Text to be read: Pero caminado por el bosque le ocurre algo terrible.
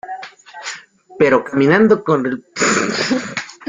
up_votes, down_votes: 0, 2